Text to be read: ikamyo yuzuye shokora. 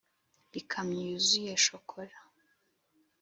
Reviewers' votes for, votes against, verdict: 2, 0, accepted